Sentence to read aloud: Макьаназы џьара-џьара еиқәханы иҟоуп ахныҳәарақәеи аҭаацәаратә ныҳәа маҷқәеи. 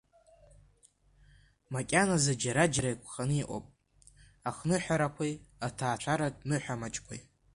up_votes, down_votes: 2, 0